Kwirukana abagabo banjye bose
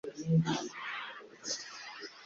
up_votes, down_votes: 0, 2